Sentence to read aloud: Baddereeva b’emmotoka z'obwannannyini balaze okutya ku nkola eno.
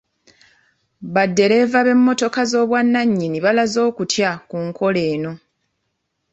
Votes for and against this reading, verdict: 2, 0, accepted